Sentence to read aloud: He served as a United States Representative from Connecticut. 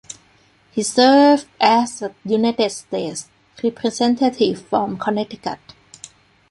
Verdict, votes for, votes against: accepted, 2, 1